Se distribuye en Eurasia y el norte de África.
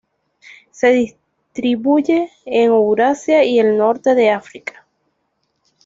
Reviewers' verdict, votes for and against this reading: accepted, 2, 0